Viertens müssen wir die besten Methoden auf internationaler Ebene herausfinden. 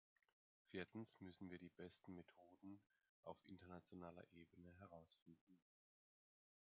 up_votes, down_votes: 0, 2